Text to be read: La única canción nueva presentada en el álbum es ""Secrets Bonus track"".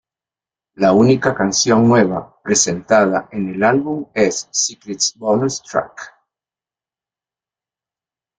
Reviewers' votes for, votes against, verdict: 2, 0, accepted